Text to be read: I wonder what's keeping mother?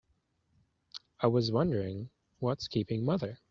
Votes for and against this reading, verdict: 2, 14, rejected